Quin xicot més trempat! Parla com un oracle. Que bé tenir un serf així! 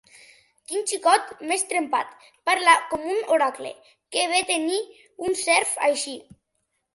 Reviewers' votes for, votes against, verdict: 2, 0, accepted